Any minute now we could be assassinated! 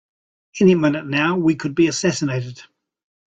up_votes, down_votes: 2, 0